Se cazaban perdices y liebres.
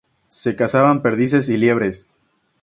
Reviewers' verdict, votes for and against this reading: accepted, 2, 0